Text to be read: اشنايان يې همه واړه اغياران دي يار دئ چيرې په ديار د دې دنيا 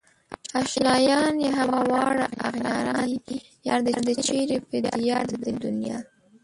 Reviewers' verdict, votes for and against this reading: rejected, 0, 2